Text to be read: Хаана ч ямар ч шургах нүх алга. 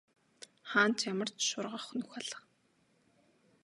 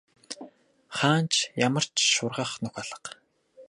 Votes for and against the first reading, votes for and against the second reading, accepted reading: 3, 0, 0, 2, first